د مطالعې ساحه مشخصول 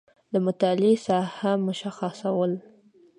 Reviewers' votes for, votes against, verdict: 2, 0, accepted